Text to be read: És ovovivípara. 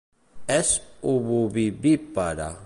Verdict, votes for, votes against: rejected, 1, 2